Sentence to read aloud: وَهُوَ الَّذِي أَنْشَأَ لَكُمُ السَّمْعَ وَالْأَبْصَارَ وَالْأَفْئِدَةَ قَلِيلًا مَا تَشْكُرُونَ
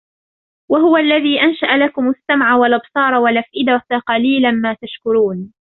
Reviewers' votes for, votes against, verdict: 2, 1, accepted